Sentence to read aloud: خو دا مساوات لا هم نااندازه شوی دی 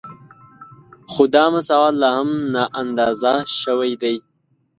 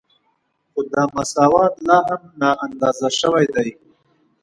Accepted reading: second